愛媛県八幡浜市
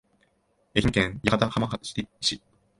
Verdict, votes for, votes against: rejected, 1, 2